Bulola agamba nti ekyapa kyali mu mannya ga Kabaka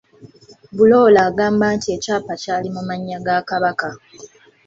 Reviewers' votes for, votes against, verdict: 2, 0, accepted